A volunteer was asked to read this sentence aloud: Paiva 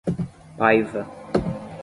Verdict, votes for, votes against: accepted, 5, 0